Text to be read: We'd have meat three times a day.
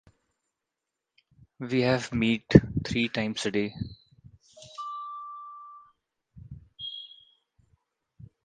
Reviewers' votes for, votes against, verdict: 0, 2, rejected